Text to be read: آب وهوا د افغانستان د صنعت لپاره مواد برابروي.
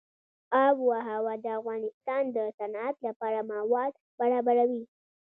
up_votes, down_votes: 2, 0